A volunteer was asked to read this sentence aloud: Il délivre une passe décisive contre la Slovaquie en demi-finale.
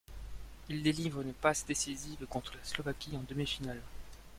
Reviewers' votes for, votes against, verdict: 1, 2, rejected